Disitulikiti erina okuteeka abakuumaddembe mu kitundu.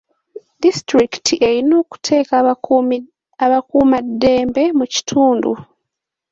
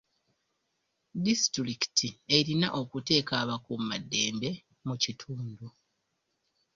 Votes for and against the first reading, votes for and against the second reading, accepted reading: 0, 2, 2, 1, second